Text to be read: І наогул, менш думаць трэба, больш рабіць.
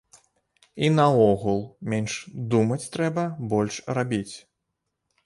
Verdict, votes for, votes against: accepted, 2, 0